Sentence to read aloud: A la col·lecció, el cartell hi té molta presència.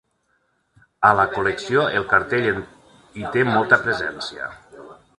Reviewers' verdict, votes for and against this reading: rejected, 0, 2